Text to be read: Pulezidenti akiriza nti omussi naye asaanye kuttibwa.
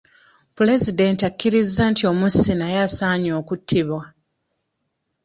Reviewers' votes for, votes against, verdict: 0, 2, rejected